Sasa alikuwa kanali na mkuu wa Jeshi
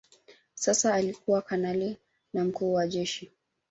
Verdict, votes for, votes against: rejected, 1, 2